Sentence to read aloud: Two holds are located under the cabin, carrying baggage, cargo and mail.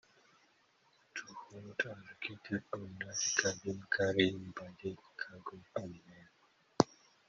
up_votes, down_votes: 0, 2